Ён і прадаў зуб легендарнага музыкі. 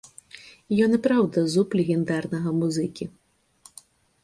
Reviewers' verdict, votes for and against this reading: rejected, 0, 2